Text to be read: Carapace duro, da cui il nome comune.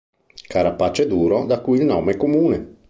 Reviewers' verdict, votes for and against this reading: accepted, 4, 0